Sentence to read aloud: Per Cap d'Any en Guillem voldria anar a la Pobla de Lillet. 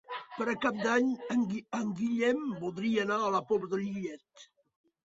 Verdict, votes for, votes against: rejected, 0, 2